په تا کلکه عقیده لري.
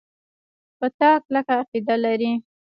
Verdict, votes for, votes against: rejected, 1, 2